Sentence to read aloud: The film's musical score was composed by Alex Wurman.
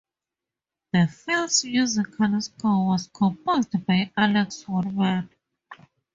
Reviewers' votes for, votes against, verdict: 2, 0, accepted